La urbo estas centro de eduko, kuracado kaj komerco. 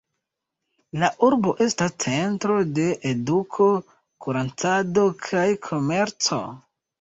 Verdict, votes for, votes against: accepted, 2, 1